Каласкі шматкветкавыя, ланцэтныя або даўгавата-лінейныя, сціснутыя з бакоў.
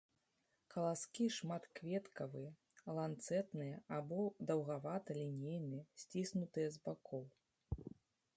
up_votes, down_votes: 1, 2